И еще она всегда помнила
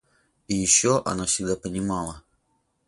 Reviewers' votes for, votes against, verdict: 0, 8, rejected